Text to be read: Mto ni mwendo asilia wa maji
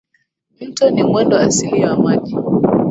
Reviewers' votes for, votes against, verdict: 0, 2, rejected